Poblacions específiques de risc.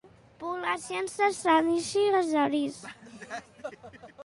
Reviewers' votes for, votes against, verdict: 1, 2, rejected